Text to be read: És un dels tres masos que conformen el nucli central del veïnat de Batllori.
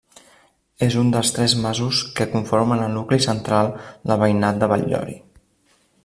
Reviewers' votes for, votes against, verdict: 2, 0, accepted